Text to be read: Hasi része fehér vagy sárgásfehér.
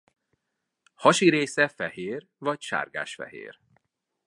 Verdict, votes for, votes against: accepted, 2, 0